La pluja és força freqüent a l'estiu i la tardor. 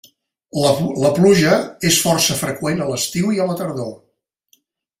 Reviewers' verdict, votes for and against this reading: rejected, 1, 2